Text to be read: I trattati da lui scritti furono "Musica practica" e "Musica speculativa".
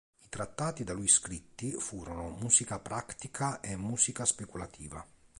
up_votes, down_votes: 3, 0